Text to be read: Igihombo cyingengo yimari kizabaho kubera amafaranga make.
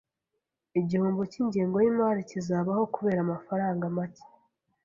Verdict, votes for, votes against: accepted, 2, 0